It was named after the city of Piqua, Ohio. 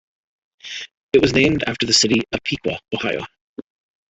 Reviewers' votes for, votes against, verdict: 1, 2, rejected